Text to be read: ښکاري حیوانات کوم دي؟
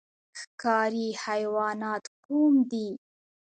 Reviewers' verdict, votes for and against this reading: accepted, 2, 1